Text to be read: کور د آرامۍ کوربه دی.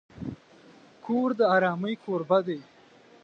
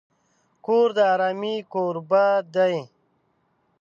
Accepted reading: first